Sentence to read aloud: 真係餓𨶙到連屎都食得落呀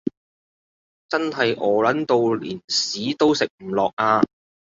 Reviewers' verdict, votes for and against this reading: rejected, 1, 2